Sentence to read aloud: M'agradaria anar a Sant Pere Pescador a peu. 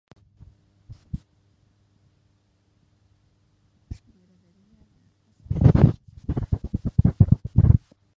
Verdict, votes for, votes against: rejected, 0, 2